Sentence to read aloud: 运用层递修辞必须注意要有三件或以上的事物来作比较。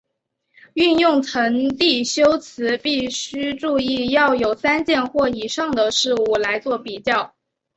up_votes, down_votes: 3, 0